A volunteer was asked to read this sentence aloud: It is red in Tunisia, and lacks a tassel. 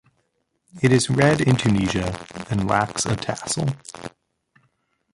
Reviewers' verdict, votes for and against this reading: rejected, 1, 2